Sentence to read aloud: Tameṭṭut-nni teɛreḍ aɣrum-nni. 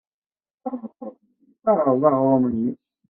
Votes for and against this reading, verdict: 0, 2, rejected